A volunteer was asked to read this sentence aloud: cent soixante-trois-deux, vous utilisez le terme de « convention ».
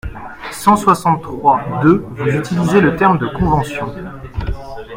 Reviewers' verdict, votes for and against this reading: rejected, 1, 2